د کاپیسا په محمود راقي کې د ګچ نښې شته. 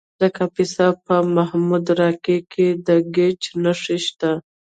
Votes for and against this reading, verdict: 2, 0, accepted